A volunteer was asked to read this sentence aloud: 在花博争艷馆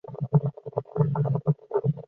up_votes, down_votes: 0, 4